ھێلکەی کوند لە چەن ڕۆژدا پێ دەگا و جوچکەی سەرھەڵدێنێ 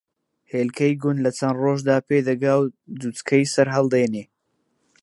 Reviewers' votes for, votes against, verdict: 2, 0, accepted